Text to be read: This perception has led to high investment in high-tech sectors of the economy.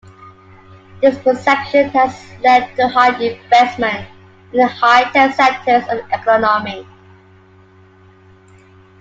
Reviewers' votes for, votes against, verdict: 2, 1, accepted